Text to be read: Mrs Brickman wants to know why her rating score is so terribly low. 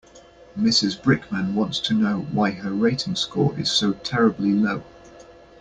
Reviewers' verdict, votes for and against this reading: accepted, 2, 0